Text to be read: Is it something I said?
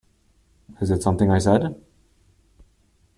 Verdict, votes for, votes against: accepted, 2, 0